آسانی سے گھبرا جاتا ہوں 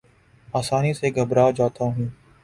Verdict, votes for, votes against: accepted, 6, 0